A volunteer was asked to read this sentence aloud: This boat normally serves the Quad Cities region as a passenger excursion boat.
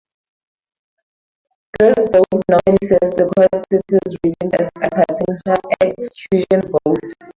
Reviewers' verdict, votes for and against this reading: rejected, 0, 2